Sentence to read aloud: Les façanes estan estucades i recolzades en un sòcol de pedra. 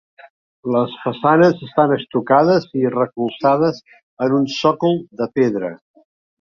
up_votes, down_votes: 3, 2